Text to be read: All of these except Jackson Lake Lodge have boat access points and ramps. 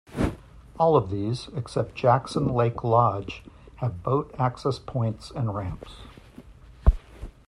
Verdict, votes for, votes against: accepted, 2, 0